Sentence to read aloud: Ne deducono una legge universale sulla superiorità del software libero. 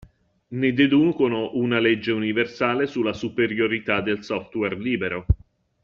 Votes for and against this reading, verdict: 2, 1, accepted